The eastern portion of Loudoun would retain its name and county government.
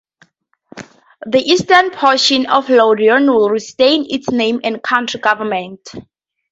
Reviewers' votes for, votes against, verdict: 2, 0, accepted